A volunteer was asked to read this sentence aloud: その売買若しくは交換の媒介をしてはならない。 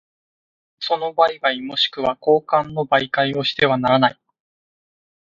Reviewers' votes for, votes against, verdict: 2, 0, accepted